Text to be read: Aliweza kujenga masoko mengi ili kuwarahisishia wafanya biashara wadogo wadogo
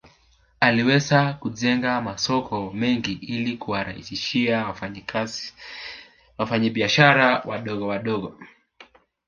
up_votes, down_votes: 2, 3